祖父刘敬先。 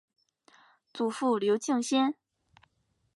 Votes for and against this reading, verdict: 2, 0, accepted